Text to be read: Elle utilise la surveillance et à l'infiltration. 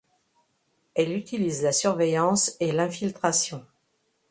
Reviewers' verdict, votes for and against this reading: rejected, 0, 2